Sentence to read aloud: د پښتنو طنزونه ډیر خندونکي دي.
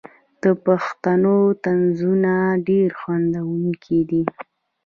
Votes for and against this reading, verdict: 2, 0, accepted